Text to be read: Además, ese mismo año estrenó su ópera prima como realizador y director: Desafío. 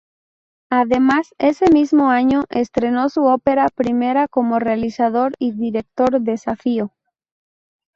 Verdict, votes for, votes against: accepted, 2, 0